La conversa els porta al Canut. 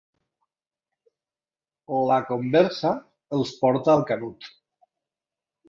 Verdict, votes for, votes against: accepted, 3, 0